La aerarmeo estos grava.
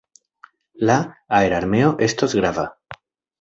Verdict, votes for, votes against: rejected, 1, 2